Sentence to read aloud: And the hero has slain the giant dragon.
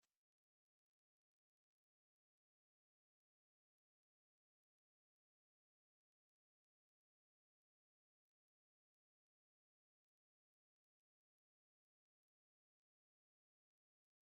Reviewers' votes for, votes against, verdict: 0, 3, rejected